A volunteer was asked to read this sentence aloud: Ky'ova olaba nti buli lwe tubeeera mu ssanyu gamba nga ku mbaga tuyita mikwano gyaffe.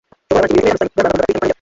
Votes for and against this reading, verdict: 0, 2, rejected